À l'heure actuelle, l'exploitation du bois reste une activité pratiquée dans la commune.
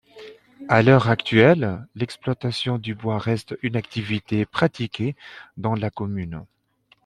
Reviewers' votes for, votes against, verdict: 2, 1, accepted